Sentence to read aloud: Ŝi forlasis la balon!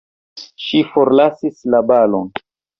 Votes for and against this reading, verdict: 2, 0, accepted